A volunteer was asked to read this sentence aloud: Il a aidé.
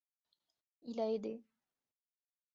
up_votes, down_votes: 1, 2